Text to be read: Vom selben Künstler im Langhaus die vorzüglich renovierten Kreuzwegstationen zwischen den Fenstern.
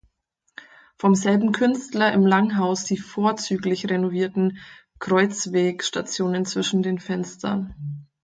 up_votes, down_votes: 4, 0